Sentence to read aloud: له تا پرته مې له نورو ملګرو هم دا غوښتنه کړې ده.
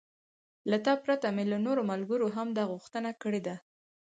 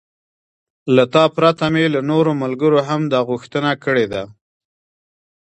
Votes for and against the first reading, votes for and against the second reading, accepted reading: 2, 4, 2, 0, second